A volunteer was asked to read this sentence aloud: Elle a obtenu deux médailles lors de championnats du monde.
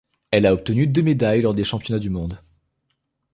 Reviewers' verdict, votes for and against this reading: rejected, 0, 2